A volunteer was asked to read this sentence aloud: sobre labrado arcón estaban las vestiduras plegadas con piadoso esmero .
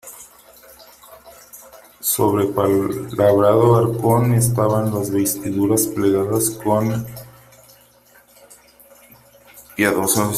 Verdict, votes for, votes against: rejected, 0, 3